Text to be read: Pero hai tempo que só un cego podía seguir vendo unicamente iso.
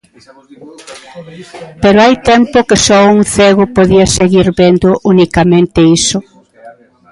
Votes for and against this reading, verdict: 0, 2, rejected